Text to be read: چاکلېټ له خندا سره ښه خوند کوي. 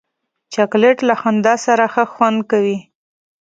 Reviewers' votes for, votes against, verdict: 3, 0, accepted